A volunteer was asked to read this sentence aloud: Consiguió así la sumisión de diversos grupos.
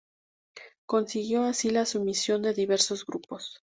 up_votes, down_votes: 2, 0